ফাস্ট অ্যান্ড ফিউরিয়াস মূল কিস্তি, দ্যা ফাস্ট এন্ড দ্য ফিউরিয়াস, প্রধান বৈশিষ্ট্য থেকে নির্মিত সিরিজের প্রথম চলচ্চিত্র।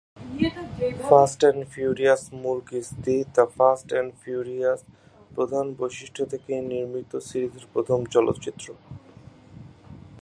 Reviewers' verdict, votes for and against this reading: rejected, 4, 9